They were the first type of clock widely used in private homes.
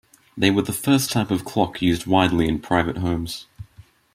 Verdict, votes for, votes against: rejected, 0, 2